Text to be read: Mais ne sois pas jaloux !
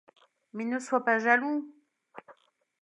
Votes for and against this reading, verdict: 2, 0, accepted